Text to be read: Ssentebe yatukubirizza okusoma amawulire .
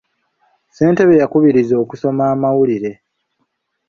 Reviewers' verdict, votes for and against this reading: rejected, 1, 2